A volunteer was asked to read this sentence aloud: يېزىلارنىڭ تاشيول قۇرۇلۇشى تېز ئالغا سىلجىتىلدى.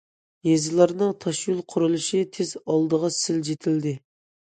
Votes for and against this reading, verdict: 0, 2, rejected